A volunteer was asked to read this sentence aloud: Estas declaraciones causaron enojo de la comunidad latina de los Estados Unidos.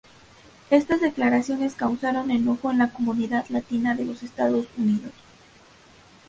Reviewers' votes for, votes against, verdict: 0, 2, rejected